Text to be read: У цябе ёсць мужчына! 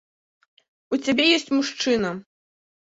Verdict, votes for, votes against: accepted, 2, 0